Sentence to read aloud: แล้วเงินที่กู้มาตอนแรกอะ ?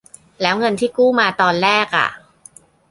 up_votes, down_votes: 2, 0